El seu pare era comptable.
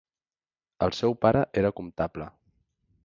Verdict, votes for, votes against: accepted, 2, 0